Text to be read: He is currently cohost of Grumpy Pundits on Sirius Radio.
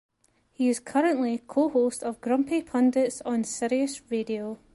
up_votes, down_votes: 1, 2